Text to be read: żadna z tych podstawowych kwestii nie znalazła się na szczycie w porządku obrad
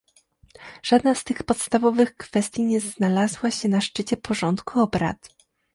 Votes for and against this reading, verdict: 2, 0, accepted